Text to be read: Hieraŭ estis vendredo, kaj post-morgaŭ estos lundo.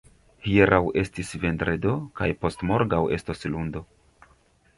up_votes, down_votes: 1, 2